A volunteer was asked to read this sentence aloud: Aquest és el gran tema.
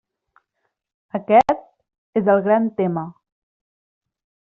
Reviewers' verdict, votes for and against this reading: rejected, 0, 2